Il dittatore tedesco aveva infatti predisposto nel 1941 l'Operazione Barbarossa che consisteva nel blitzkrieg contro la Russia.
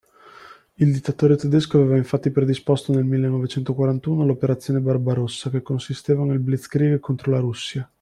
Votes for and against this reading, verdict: 0, 2, rejected